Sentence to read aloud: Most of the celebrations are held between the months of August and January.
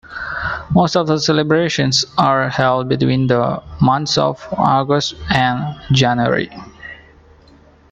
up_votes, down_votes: 2, 1